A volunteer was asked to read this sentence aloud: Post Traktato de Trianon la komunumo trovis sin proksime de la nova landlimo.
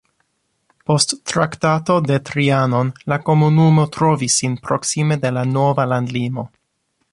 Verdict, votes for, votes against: accepted, 2, 0